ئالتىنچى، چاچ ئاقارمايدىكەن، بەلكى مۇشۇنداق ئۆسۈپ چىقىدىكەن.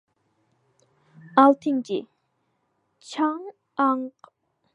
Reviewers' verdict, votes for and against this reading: rejected, 0, 2